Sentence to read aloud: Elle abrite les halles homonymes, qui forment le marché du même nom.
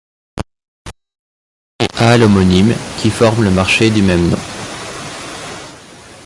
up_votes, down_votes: 0, 2